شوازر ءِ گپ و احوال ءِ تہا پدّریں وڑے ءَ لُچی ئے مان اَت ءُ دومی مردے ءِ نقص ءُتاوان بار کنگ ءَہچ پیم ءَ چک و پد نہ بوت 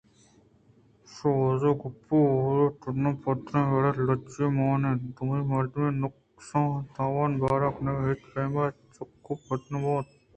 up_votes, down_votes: 2, 0